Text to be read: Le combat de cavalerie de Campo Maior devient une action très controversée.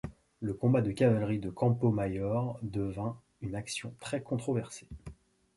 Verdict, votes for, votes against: rejected, 1, 2